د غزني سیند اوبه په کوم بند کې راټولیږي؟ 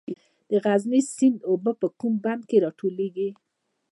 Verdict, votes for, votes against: rejected, 0, 2